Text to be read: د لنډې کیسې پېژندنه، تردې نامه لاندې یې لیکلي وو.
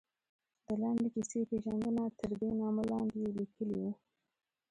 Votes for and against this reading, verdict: 2, 0, accepted